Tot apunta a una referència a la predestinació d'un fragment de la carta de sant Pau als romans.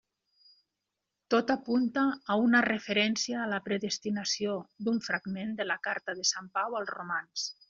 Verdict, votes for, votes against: accepted, 3, 0